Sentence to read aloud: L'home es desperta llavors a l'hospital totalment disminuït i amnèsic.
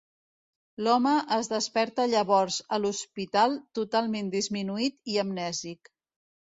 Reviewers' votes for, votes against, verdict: 2, 1, accepted